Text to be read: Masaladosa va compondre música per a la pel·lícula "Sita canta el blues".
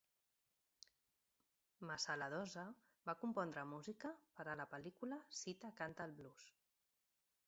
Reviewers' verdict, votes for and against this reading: accepted, 2, 0